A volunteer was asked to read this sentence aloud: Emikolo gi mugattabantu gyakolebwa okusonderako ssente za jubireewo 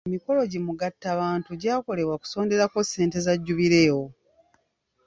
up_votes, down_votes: 2, 0